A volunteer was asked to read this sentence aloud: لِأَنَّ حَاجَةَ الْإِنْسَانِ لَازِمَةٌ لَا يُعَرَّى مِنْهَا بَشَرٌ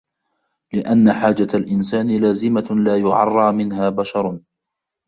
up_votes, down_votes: 2, 1